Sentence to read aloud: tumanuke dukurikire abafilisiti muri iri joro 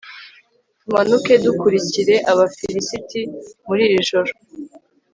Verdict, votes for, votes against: accepted, 2, 0